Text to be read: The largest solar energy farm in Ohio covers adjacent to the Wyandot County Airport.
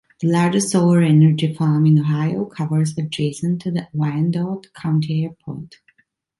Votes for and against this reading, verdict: 3, 0, accepted